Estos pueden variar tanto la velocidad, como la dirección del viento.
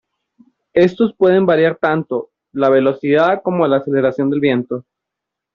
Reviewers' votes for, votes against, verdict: 0, 2, rejected